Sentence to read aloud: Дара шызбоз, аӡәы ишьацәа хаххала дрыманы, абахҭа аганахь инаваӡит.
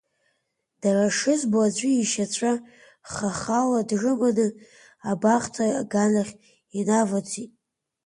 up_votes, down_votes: 1, 2